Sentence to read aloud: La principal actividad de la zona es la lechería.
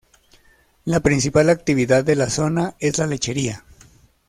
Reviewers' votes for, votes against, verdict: 2, 0, accepted